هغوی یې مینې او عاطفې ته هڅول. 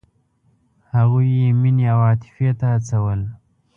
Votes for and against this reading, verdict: 2, 0, accepted